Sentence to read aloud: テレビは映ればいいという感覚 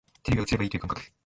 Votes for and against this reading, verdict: 1, 2, rejected